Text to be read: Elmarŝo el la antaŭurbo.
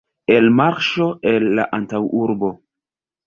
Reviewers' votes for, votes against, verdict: 2, 0, accepted